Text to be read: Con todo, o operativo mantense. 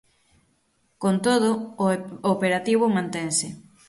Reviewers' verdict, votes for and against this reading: accepted, 6, 3